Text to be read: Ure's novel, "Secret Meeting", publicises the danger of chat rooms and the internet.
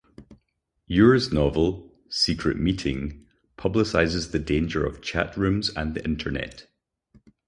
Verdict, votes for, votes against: accepted, 4, 0